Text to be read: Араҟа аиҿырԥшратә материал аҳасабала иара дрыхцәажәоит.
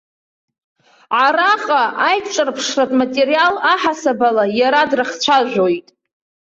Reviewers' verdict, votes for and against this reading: accepted, 2, 0